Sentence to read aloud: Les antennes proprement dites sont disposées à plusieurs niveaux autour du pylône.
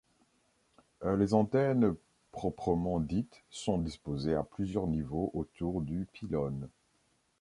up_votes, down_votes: 2, 0